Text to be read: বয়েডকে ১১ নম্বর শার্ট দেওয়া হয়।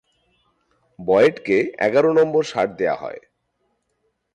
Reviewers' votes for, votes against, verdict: 0, 2, rejected